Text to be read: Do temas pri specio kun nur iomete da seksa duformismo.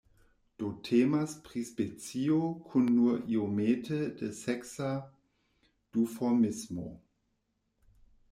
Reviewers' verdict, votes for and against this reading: rejected, 1, 2